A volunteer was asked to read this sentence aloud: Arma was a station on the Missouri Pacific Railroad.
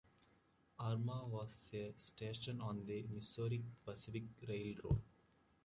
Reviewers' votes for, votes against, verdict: 2, 1, accepted